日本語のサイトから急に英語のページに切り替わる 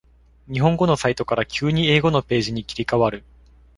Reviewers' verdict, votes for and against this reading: accepted, 2, 0